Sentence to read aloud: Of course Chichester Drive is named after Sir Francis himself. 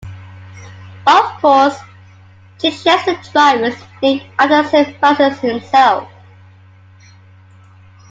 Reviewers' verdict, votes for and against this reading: rejected, 1, 2